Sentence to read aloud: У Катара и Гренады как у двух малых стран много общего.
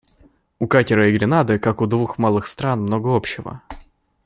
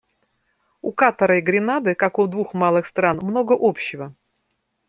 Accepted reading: second